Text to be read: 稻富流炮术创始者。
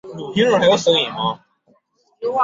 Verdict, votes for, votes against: rejected, 0, 2